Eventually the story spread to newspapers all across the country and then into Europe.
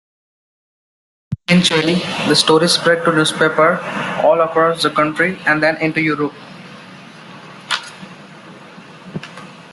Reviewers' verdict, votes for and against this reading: rejected, 0, 2